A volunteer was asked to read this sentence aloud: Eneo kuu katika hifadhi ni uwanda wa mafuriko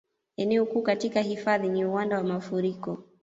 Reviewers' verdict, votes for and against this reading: accepted, 2, 1